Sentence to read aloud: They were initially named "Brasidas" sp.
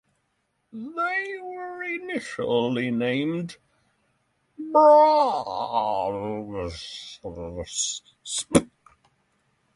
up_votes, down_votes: 0, 3